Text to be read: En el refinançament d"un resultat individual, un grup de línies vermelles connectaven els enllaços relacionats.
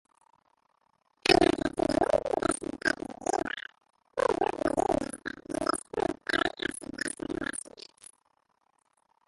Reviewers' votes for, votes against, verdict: 0, 2, rejected